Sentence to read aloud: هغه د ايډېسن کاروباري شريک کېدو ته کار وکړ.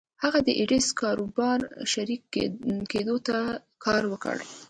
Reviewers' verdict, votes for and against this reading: rejected, 1, 2